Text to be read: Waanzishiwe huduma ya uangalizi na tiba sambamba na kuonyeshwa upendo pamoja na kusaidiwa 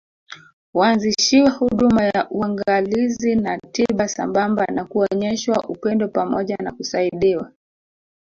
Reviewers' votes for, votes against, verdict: 2, 3, rejected